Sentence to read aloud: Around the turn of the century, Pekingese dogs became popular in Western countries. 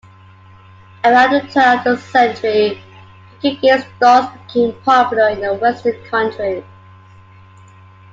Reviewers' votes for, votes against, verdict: 1, 2, rejected